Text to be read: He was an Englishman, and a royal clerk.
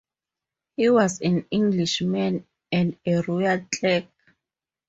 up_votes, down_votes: 4, 0